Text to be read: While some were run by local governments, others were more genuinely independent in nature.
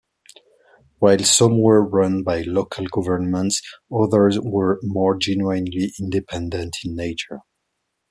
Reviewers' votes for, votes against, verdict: 2, 0, accepted